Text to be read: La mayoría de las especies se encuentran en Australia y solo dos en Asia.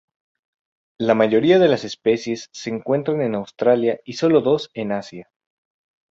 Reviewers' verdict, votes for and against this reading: rejected, 0, 2